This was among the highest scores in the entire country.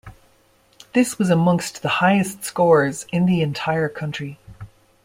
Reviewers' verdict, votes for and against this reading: rejected, 1, 2